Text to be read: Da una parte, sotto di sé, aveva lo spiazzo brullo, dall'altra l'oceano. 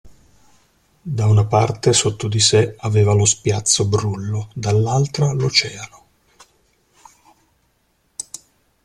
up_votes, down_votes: 2, 0